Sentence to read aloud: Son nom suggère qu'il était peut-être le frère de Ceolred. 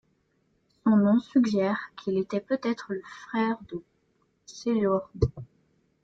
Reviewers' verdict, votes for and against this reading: rejected, 0, 2